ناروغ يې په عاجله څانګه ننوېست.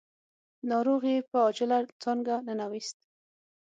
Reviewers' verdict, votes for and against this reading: accepted, 6, 0